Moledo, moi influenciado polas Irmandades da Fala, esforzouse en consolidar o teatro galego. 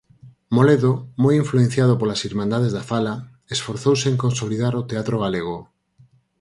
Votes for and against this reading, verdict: 4, 0, accepted